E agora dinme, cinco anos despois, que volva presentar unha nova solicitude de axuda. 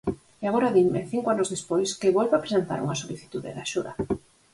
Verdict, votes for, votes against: rejected, 2, 4